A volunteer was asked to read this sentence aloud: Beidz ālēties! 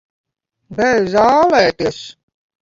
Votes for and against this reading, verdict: 0, 2, rejected